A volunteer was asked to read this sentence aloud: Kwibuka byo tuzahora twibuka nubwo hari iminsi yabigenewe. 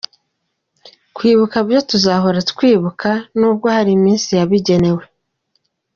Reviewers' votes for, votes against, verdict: 2, 0, accepted